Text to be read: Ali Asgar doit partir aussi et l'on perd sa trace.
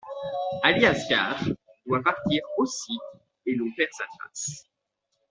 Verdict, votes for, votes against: accepted, 2, 0